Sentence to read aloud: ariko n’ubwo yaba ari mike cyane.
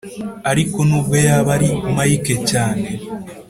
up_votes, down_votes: 2, 0